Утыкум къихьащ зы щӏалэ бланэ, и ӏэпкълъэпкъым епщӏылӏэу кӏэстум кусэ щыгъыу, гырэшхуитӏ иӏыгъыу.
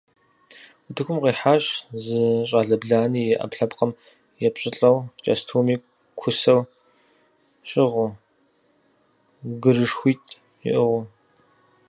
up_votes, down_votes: 0, 4